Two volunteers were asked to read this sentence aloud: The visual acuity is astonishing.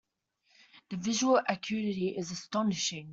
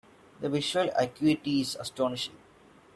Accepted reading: first